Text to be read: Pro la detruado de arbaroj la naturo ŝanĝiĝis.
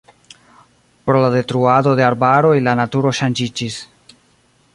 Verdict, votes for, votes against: rejected, 0, 2